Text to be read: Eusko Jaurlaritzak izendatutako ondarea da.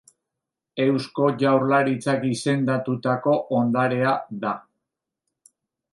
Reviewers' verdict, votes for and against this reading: accepted, 2, 1